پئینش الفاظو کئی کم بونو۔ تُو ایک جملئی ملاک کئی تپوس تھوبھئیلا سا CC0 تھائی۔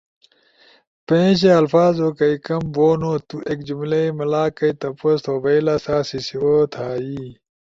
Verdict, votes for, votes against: rejected, 0, 2